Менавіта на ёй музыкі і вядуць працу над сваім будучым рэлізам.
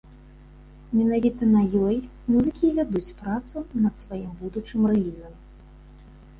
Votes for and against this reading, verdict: 1, 2, rejected